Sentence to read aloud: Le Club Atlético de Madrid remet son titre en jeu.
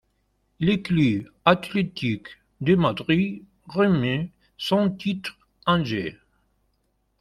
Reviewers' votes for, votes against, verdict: 1, 2, rejected